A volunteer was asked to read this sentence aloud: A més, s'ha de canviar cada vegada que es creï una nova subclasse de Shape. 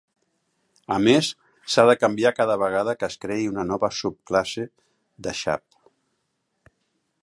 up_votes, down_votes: 1, 3